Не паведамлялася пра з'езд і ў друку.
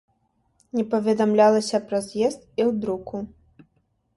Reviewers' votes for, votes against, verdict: 2, 0, accepted